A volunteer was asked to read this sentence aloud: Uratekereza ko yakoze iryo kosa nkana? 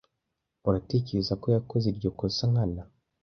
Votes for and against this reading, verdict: 2, 0, accepted